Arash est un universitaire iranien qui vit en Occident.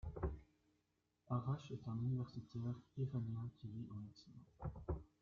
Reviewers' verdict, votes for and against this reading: rejected, 0, 2